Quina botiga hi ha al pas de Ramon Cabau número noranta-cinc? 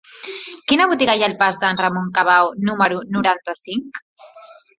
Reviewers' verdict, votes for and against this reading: accepted, 2, 0